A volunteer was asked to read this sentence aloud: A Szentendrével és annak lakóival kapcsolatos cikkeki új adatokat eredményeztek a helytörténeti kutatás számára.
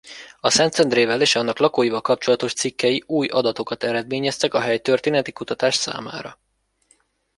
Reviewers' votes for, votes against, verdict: 1, 2, rejected